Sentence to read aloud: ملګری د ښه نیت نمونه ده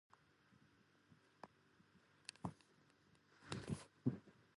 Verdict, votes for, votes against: rejected, 0, 2